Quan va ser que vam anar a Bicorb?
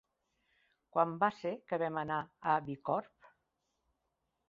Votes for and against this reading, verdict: 3, 1, accepted